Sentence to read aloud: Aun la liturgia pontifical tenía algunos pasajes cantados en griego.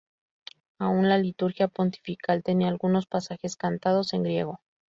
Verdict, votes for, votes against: rejected, 0, 2